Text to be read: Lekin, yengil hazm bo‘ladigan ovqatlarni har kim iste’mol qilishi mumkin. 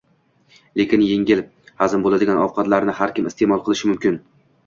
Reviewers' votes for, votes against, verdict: 2, 0, accepted